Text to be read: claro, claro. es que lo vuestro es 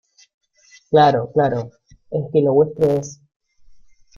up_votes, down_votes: 2, 0